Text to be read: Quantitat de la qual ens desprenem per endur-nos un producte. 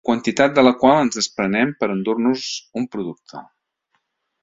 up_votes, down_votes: 2, 0